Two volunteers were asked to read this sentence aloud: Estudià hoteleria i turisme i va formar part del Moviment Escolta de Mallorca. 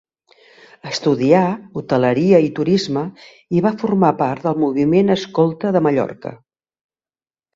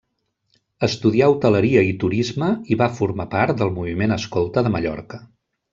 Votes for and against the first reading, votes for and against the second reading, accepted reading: 2, 0, 1, 2, first